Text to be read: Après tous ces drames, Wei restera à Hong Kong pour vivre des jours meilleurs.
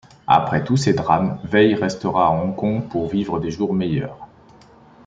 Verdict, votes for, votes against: accepted, 2, 0